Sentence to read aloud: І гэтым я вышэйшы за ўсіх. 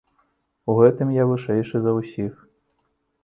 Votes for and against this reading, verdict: 0, 2, rejected